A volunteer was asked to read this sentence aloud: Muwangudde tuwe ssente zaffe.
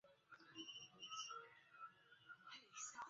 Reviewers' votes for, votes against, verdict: 0, 2, rejected